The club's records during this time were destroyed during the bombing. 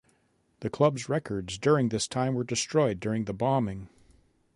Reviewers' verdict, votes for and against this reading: accepted, 2, 0